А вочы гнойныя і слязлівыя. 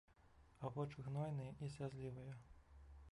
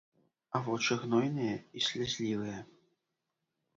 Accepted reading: second